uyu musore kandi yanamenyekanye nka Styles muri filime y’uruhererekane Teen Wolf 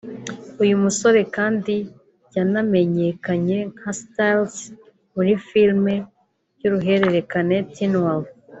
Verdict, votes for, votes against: rejected, 1, 2